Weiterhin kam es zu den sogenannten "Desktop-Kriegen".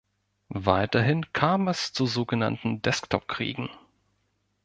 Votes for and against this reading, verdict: 1, 2, rejected